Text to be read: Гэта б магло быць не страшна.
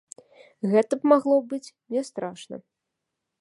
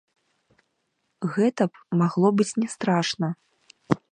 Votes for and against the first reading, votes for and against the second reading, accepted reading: 2, 0, 0, 2, first